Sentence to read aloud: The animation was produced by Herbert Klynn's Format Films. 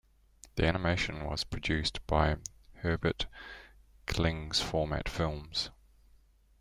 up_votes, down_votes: 2, 0